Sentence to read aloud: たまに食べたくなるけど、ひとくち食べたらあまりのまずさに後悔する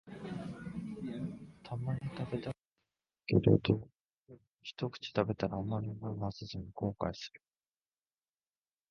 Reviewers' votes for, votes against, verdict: 1, 3, rejected